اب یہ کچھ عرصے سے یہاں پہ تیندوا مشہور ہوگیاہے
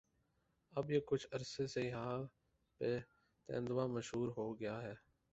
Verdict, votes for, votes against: rejected, 0, 2